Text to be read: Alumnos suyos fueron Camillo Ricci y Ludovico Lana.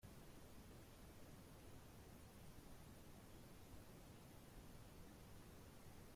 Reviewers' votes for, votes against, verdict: 0, 2, rejected